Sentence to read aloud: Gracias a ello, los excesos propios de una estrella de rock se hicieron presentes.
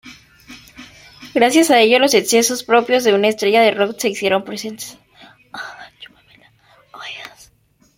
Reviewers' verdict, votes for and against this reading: rejected, 1, 2